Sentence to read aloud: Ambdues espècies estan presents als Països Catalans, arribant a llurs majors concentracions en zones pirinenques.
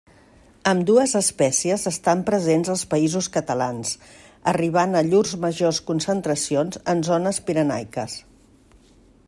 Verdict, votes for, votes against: rejected, 0, 2